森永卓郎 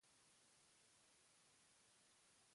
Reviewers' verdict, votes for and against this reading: rejected, 0, 2